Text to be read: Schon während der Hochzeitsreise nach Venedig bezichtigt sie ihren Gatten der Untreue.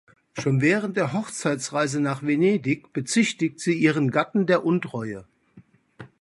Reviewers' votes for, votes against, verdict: 2, 0, accepted